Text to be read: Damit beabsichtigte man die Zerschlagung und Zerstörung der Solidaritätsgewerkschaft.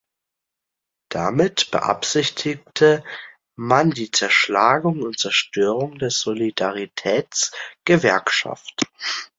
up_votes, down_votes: 0, 2